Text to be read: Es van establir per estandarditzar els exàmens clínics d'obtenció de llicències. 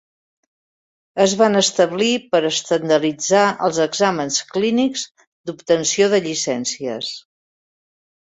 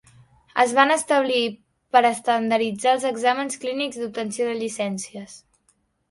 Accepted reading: first